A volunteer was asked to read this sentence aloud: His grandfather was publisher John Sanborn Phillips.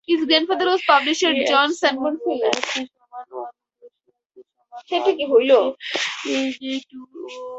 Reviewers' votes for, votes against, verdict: 4, 2, accepted